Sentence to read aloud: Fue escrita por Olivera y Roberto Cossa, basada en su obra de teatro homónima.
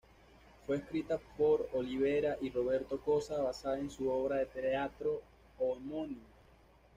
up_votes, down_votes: 1, 2